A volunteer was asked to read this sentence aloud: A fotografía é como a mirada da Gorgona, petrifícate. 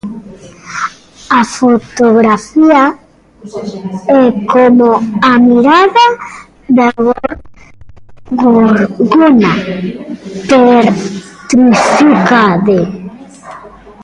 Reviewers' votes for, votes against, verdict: 0, 2, rejected